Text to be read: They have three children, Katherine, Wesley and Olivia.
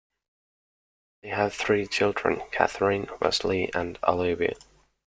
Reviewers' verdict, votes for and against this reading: accepted, 2, 0